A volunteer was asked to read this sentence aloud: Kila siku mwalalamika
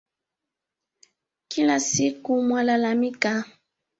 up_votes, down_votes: 2, 1